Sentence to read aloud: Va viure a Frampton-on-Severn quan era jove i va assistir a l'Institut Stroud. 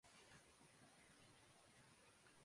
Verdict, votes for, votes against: rejected, 0, 2